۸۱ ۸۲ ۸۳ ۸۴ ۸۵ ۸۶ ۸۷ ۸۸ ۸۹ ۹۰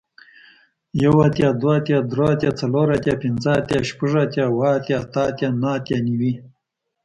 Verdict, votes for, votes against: rejected, 0, 2